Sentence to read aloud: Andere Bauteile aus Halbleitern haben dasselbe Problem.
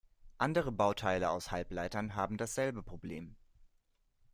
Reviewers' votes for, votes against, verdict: 2, 0, accepted